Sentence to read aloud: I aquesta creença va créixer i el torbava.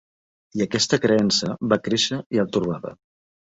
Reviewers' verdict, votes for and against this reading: accepted, 2, 0